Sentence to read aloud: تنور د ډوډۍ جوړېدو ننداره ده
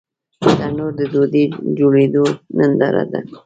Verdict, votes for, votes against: rejected, 1, 2